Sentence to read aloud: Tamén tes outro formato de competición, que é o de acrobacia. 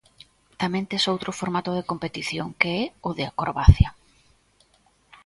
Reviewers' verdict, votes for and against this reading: accepted, 2, 0